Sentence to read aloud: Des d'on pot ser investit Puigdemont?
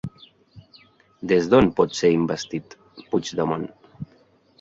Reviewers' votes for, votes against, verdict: 4, 0, accepted